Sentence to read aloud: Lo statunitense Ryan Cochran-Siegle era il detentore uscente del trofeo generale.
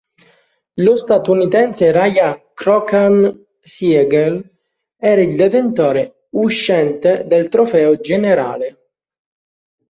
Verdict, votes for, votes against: rejected, 0, 2